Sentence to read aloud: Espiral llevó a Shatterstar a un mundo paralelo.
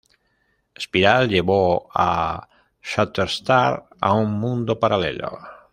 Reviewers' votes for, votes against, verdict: 2, 0, accepted